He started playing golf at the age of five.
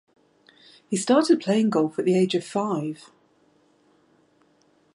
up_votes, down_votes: 2, 0